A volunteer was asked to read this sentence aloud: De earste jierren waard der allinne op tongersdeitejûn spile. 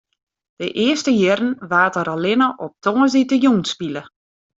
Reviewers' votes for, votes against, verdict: 2, 0, accepted